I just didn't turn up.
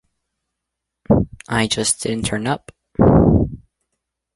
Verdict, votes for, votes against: rejected, 0, 2